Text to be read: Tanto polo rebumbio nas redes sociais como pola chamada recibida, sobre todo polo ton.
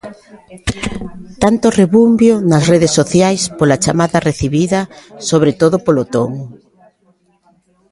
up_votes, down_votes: 0, 2